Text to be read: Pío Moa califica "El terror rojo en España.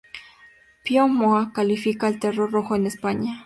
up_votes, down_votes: 0, 2